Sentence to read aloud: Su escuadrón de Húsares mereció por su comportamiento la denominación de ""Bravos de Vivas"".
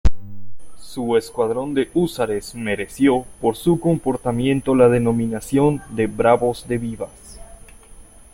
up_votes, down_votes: 2, 1